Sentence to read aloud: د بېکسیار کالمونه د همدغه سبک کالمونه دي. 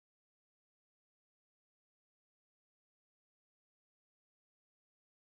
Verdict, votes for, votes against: rejected, 0, 2